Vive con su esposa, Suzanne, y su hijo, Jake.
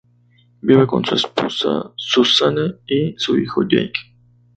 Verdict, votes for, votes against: rejected, 0, 2